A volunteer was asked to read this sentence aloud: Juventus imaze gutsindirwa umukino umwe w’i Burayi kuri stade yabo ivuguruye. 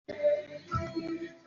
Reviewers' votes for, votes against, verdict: 0, 2, rejected